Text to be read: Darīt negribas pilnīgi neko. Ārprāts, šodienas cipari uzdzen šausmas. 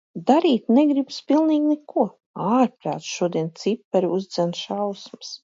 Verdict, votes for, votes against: rejected, 1, 2